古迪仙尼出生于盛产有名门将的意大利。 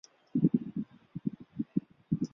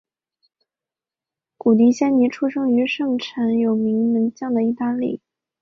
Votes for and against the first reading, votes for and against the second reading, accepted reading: 0, 3, 2, 0, second